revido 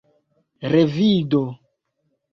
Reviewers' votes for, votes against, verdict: 2, 1, accepted